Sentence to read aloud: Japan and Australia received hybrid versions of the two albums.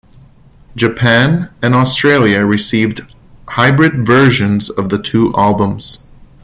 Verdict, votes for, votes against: accepted, 2, 0